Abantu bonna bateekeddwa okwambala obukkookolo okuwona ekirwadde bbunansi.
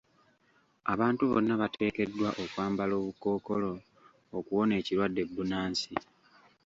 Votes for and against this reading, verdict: 2, 1, accepted